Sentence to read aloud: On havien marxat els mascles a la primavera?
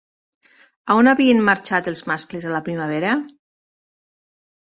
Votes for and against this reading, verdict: 2, 1, accepted